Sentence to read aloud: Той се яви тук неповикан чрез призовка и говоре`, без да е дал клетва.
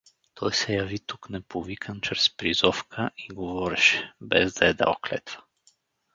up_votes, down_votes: 0, 2